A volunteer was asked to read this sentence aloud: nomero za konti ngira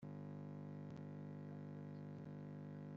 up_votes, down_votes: 0, 2